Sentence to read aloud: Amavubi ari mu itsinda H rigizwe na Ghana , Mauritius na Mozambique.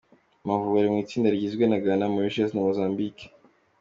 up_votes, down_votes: 2, 0